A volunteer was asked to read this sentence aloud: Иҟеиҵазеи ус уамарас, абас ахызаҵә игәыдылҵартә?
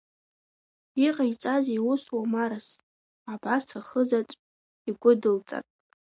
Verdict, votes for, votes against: accepted, 3, 1